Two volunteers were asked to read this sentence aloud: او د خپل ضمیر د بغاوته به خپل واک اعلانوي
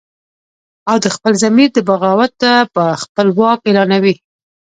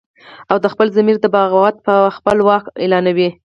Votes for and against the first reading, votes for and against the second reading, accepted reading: 2, 0, 2, 4, first